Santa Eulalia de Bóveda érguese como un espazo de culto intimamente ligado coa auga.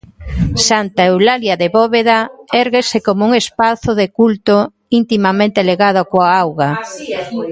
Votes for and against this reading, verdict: 2, 1, accepted